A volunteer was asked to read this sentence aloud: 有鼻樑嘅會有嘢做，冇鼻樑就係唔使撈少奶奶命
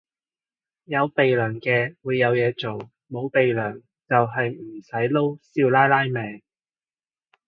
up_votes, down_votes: 2, 0